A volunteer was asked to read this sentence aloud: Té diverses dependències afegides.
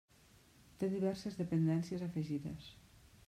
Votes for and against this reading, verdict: 3, 1, accepted